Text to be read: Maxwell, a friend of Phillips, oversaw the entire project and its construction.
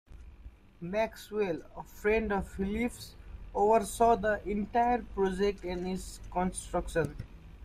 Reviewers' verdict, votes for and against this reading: accepted, 2, 0